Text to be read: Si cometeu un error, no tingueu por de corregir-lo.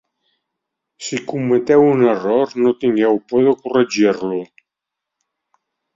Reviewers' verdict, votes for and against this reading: accepted, 2, 0